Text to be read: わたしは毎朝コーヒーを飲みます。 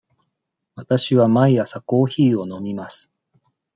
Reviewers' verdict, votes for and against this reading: accepted, 2, 0